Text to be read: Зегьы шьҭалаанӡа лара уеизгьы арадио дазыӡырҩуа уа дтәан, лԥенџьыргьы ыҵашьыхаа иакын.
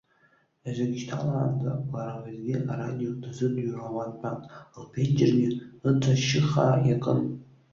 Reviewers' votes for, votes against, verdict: 0, 2, rejected